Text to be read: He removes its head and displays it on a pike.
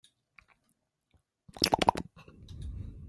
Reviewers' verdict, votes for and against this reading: rejected, 0, 2